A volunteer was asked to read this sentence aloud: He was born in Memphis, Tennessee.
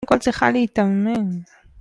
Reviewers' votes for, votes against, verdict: 0, 2, rejected